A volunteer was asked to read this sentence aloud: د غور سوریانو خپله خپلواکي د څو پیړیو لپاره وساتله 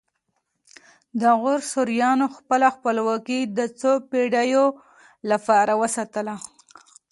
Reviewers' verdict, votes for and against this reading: accepted, 2, 0